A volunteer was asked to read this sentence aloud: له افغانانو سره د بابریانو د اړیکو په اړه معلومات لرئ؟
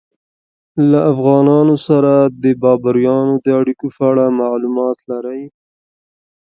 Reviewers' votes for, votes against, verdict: 1, 2, rejected